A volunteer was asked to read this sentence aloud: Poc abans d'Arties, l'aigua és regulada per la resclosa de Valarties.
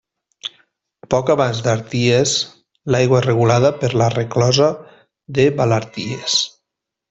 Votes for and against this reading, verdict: 0, 2, rejected